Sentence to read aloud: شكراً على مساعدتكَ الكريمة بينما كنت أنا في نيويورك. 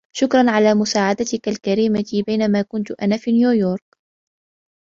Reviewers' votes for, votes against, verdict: 2, 0, accepted